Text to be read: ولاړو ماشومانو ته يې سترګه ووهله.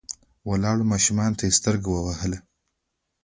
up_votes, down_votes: 0, 2